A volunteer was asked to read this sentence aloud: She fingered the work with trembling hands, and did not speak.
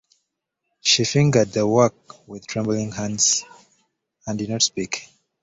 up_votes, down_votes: 2, 0